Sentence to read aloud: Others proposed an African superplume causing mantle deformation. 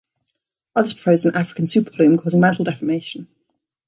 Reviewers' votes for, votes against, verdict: 1, 2, rejected